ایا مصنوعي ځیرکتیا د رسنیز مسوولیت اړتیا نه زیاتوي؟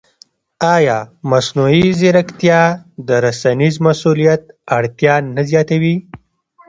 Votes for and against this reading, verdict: 2, 0, accepted